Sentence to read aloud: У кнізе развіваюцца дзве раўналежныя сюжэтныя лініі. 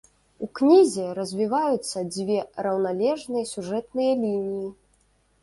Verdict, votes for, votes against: rejected, 0, 2